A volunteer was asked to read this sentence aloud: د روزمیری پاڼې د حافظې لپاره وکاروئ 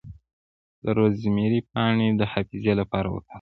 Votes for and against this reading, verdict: 0, 2, rejected